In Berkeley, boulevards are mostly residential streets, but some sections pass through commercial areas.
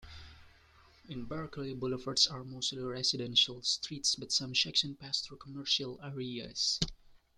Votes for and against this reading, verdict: 2, 0, accepted